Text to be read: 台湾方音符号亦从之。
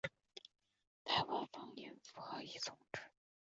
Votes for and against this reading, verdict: 0, 4, rejected